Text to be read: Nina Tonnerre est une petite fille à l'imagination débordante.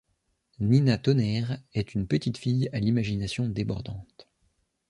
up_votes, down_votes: 2, 0